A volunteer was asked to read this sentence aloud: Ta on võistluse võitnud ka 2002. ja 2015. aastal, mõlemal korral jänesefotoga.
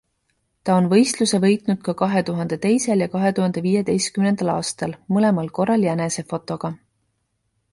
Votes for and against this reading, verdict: 0, 2, rejected